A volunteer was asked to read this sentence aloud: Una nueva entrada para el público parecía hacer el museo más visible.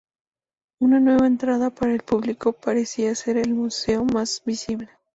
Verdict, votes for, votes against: accepted, 2, 0